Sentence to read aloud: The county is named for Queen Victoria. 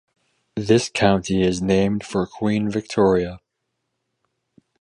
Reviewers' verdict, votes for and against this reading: rejected, 0, 4